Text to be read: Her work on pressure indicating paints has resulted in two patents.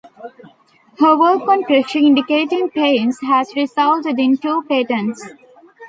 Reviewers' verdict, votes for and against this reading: accepted, 2, 0